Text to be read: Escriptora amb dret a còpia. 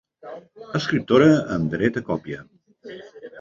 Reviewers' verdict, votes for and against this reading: rejected, 1, 2